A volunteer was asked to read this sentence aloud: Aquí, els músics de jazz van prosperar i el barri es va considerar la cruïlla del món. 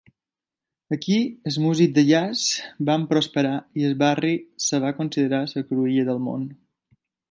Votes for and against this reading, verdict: 1, 2, rejected